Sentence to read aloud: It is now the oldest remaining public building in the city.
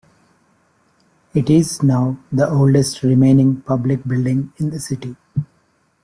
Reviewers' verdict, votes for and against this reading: accepted, 2, 0